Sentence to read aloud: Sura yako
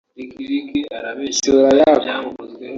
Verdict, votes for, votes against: rejected, 1, 2